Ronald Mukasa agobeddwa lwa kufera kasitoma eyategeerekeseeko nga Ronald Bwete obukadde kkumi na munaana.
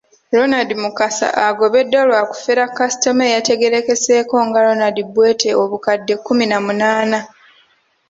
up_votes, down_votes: 1, 3